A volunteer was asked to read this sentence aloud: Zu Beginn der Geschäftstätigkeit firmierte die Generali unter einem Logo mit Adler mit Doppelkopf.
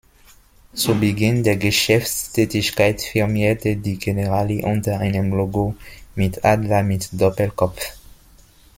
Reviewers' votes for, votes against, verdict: 2, 0, accepted